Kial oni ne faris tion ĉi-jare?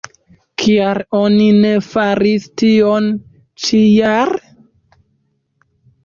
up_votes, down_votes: 0, 2